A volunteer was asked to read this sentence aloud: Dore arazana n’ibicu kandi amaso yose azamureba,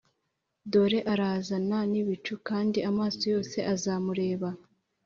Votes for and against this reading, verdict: 3, 0, accepted